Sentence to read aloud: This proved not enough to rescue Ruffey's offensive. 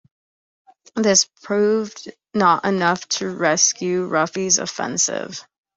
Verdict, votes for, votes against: accepted, 2, 0